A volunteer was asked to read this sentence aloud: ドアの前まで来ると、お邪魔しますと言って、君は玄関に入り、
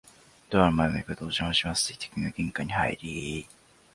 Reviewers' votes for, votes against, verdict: 1, 2, rejected